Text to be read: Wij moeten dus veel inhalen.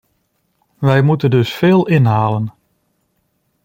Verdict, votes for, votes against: accepted, 2, 0